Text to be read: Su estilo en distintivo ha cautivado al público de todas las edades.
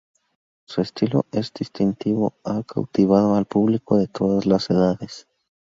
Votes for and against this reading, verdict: 2, 2, rejected